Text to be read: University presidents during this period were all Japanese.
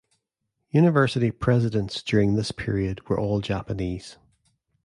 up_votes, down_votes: 2, 0